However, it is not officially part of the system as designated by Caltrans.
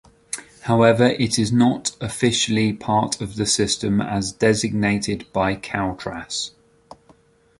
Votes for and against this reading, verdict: 0, 2, rejected